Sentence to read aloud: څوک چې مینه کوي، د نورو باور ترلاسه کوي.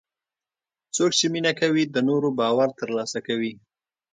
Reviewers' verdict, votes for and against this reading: accepted, 2, 0